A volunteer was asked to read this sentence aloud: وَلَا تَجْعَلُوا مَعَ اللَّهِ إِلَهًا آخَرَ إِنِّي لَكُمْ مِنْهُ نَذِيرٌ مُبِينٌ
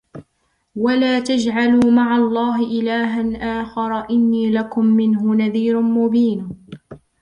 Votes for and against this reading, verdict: 0, 2, rejected